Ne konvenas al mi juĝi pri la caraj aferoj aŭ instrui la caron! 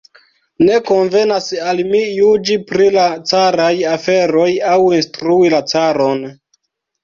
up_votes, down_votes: 1, 2